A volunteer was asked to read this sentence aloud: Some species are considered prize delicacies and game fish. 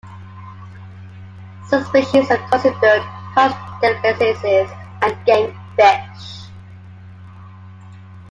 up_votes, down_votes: 1, 3